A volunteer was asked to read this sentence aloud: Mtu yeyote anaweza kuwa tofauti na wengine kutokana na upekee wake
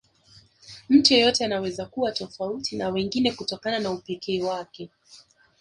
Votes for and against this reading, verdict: 0, 2, rejected